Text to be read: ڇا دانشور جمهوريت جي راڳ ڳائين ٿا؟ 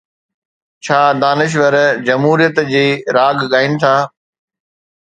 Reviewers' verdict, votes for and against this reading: accepted, 2, 0